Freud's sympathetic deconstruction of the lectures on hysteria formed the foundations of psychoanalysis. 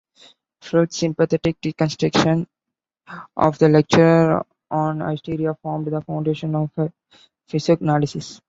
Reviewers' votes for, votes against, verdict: 0, 2, rejected